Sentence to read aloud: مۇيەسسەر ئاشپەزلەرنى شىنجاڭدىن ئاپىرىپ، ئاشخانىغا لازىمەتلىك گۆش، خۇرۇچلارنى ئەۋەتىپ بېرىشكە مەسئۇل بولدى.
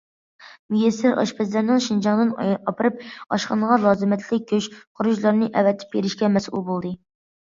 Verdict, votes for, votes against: rejected, 0, 2